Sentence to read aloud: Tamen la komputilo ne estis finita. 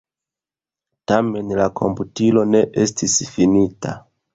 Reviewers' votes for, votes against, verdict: 1, 2, rejected